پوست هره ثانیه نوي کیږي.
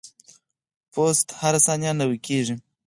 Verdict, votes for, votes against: rejected, 2, 4